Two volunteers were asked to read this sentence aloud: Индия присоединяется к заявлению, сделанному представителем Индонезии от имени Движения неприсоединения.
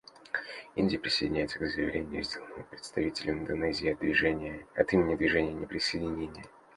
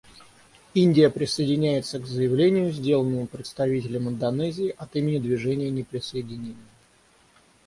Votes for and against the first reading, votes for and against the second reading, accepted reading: 0, 2, 6, 0, second